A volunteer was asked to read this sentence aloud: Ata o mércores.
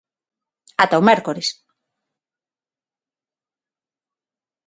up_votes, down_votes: 6, 0